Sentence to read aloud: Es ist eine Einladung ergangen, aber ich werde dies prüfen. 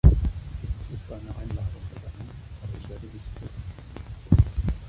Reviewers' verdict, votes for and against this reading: accepted, 2, 1